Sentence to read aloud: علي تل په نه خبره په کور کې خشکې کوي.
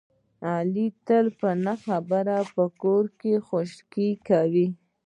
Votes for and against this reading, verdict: 2, 0, accepted